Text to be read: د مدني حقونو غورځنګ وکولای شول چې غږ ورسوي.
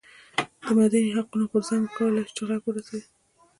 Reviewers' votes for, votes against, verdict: 1, 2, rejected